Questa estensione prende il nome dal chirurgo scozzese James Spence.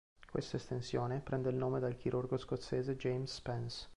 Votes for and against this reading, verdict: 2, 1, accepted